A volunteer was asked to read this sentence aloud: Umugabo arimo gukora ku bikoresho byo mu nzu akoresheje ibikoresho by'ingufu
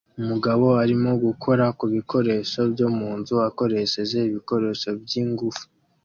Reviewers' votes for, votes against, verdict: 2, 0, accepted